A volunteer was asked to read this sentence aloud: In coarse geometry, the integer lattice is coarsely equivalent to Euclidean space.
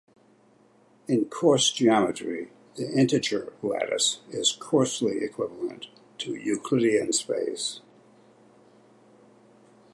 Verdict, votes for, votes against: accepted, 2, 0